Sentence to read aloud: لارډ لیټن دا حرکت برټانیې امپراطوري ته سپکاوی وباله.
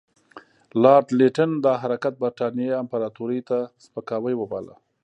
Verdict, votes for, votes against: rejected, 0, 2